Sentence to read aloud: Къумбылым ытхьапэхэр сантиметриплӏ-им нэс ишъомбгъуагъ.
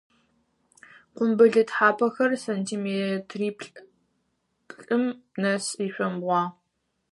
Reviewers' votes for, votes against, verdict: 2, 4, rejected